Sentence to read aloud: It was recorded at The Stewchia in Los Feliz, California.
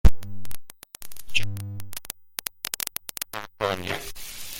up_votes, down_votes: 0, 2